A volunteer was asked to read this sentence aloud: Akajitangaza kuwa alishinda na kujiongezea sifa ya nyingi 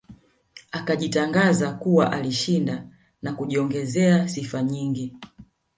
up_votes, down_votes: 1, 2